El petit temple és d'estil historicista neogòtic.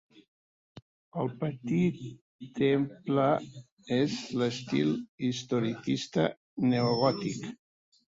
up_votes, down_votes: 1, 2